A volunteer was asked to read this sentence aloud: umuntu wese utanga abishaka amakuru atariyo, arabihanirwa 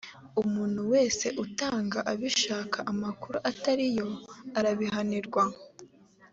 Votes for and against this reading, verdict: 2, 0, accepted